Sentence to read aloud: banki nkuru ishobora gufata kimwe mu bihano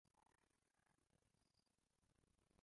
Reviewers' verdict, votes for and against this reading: rejected, 0, 2